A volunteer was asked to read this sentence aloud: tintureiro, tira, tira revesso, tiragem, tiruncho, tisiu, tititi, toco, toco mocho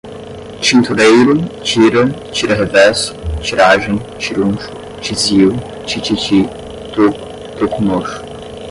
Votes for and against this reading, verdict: 0, 5, rejected